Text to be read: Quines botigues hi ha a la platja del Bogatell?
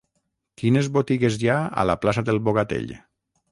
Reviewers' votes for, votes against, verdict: 3, 6, rejected